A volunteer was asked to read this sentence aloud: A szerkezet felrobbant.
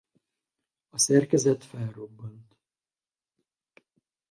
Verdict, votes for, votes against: rejected, 0, 2